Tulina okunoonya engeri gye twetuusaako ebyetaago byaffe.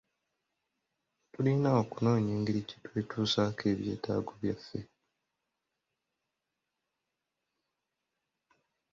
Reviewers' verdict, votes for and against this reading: accepted, 2, 0